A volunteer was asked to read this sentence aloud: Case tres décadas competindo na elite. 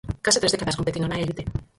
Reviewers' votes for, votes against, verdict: 0, 4, rejected